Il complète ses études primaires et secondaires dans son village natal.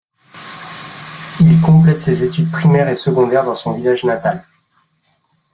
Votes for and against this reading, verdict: 2, 0, accepted